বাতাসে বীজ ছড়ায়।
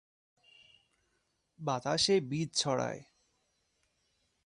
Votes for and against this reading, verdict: 25, 0, accepted